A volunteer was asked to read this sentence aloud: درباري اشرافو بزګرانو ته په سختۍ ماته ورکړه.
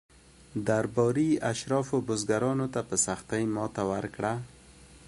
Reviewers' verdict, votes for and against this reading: rejected, 1, 2